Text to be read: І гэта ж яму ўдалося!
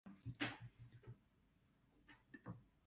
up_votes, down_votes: 0, 2